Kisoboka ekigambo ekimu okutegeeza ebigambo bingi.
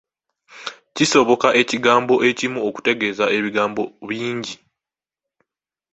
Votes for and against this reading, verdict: 2, 0, accepted